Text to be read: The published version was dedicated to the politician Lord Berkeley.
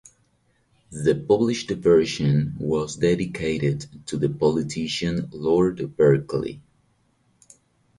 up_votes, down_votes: 4, 0